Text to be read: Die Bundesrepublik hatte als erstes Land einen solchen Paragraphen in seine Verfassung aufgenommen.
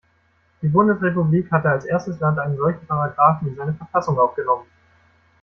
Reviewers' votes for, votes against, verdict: 1, 2, rejected